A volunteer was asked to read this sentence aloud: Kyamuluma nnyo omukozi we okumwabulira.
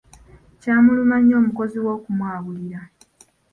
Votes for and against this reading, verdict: 1, 2, rejected